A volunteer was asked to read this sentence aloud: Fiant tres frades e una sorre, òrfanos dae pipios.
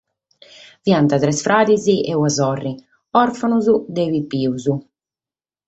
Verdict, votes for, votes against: accepted, 4, 0